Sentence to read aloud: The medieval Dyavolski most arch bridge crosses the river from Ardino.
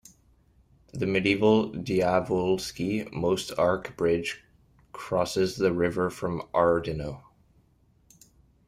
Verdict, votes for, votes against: accepted, 2, 1